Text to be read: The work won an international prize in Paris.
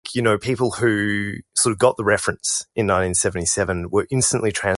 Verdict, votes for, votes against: rejected, 0, 2